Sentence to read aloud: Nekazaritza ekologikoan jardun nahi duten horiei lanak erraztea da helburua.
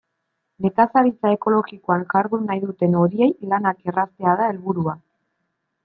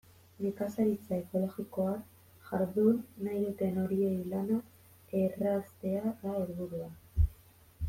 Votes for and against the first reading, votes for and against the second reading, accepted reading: 2, 0, 0, 2, first